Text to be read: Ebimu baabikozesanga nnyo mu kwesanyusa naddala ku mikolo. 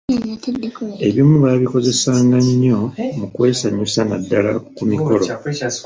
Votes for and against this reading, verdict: 1, 2, rejected